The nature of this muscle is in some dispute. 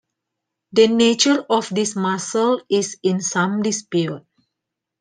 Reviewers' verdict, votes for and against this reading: accepted, 2, 0